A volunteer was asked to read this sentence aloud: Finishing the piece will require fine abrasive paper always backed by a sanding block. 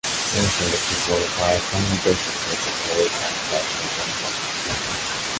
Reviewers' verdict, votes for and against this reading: rejected, 0, 2